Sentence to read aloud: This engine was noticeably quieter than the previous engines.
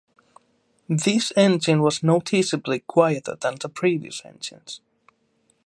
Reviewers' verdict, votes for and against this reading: accepted, 2, 0